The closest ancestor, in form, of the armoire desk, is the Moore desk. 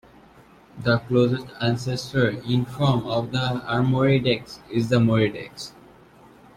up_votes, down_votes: 1, 2